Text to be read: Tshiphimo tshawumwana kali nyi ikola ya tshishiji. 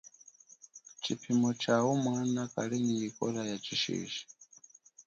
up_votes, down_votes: 1, 2